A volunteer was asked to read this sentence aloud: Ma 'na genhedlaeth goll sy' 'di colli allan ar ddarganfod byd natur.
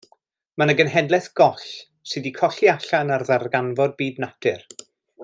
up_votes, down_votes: 2, 0